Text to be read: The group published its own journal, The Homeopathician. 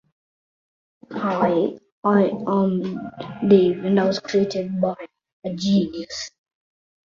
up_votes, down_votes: 0, 2